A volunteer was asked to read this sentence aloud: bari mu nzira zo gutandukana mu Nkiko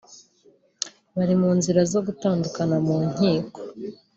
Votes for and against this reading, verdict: 3, 0, accepted